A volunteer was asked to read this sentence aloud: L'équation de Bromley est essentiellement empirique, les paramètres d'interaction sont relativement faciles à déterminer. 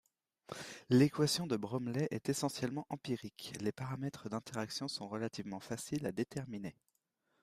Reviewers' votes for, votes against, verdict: 2, 0, accepted